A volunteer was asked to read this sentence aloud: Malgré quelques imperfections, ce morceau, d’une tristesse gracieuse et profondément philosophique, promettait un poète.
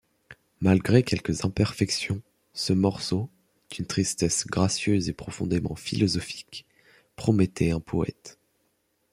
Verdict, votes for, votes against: accepted, 2, 0